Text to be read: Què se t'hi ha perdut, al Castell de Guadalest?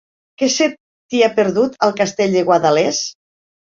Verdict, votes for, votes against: rejected, 0, 2